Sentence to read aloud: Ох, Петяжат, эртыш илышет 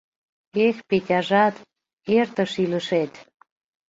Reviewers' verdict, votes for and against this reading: rejected, 0, 2